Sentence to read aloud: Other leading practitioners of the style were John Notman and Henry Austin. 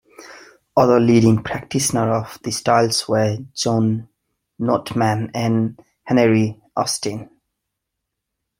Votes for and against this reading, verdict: 1, 2, rejected